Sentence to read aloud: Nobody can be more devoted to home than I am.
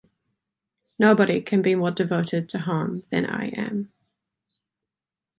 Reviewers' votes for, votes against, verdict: 2, 0, accepted